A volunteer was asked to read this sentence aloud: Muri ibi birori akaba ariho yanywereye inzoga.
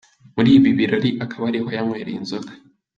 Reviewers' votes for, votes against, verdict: 3, 0, accepted